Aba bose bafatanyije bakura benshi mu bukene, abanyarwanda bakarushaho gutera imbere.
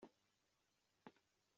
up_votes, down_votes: 0, 2